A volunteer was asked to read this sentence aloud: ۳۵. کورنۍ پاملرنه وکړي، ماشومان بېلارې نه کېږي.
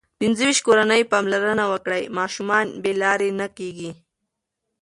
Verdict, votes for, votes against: rejected, 0, 2